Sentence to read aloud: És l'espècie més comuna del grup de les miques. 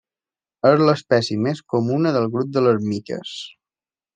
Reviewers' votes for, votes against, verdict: 2, 0, accepted